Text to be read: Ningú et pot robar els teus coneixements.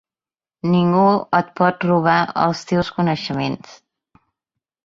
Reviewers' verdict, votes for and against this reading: accepted, 3, 0